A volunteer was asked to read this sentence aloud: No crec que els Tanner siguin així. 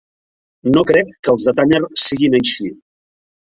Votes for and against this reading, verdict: 0, 2, rejected